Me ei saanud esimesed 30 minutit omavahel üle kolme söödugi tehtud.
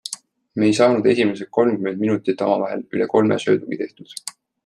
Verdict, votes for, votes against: rejected, 0, 2